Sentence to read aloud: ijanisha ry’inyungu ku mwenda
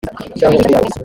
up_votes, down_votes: 0, 2